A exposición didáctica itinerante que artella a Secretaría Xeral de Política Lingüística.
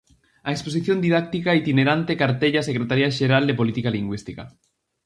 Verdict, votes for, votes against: rejected, 2, 2